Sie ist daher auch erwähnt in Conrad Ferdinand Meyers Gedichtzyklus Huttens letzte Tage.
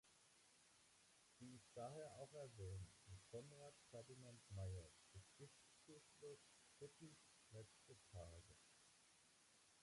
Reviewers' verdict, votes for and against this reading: rejected, 0, 4